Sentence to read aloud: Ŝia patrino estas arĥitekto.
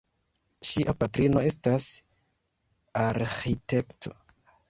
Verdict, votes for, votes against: rejected, 1, 2